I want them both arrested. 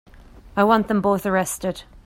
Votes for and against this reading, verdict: 2, 0, accepted